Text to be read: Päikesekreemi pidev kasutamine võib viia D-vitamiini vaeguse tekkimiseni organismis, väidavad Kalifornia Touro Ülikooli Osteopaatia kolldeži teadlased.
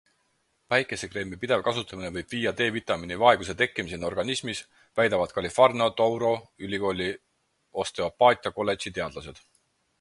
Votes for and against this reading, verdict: 4, 2, accepted